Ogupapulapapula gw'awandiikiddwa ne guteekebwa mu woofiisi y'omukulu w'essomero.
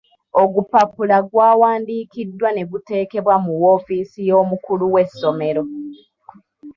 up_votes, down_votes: 0, 2